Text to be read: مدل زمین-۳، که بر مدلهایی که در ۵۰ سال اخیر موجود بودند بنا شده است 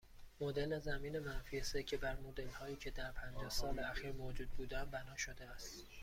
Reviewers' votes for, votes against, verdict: 0, 2, rejected